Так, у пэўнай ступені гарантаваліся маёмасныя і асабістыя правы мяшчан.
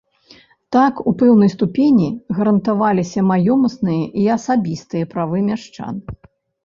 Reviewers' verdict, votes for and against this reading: accepted, 2, 0